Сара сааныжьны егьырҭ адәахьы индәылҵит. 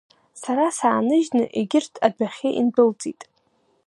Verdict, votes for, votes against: accepted, 2, 0